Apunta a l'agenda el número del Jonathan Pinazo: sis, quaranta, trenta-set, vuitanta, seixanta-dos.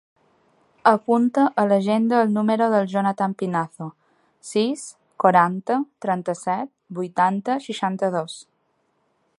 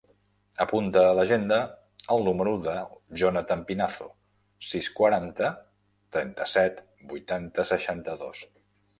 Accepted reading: first